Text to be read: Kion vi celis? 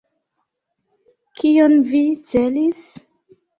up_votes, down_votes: 2, 0